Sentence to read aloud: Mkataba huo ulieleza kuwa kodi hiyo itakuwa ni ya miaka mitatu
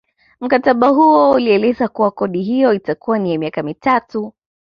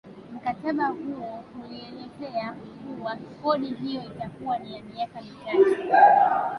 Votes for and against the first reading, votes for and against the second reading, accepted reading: 2, 0, 0, 2, first